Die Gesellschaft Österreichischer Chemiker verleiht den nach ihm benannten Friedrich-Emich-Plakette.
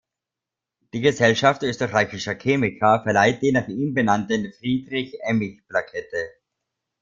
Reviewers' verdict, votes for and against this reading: accepted, 2, 1